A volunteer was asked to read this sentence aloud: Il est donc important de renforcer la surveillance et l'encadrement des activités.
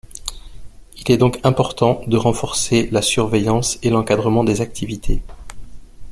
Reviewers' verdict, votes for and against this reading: accepted, 2, 0